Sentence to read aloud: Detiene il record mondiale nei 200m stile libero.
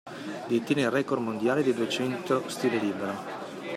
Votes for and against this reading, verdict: 0, 2, rejected